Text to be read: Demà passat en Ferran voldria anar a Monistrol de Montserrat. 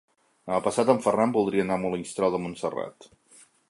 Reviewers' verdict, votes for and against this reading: rejected, 0, 2